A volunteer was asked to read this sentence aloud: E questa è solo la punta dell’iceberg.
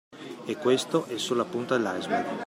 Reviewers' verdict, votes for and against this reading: accepted, 2, 0